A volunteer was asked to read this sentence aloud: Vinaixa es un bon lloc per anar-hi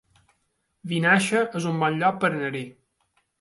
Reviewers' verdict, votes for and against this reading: accepted, 2, 0